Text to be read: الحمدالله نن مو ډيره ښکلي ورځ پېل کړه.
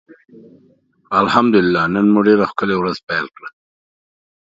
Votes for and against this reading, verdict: 3, 0, accepted